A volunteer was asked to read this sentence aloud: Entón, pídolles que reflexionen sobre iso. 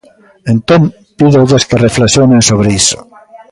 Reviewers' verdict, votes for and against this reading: rejected, 1, 2